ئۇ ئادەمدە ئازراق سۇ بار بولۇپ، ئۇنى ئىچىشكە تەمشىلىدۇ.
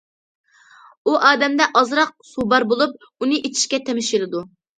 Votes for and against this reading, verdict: 2, 0, accepted